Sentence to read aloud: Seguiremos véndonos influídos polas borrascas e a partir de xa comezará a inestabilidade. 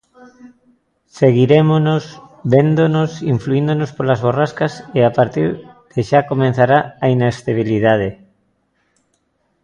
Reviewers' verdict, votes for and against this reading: rejected, 0, 2